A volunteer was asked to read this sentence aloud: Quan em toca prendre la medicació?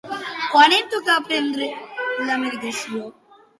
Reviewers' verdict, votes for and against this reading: rejected, 0, 2